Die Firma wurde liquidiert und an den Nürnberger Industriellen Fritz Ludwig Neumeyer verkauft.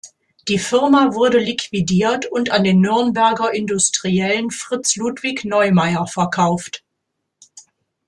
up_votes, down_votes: 2, 0